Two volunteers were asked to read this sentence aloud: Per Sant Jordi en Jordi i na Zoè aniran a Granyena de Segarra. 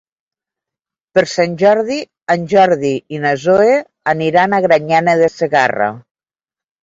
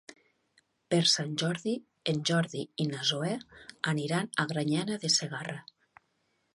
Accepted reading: second